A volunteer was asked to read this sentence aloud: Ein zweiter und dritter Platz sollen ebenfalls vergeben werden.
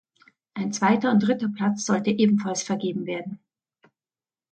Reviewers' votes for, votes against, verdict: 0, 2, rejected